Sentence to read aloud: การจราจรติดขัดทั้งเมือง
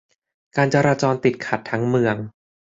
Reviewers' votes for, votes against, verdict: 2, 0, accepted